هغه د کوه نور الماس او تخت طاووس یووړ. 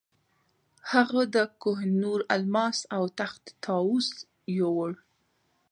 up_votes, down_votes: 0, 2